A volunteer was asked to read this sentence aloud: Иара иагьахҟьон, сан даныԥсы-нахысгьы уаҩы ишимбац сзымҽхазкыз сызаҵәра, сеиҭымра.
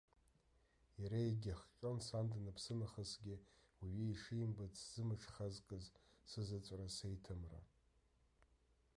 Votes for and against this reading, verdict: 1, 2, rejected